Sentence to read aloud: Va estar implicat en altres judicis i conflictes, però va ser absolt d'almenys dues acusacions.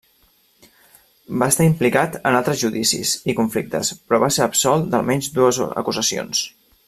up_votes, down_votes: 1, 2